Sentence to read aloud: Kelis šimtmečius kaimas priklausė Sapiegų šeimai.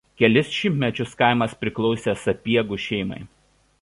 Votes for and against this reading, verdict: 2, 0, accepted